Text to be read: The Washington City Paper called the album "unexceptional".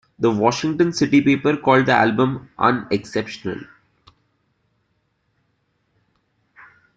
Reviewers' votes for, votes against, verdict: 2, 0, accepted